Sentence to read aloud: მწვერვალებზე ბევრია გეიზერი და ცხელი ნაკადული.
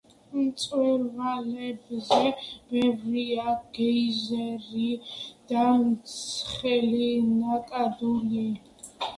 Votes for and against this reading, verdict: 1, 2, rejected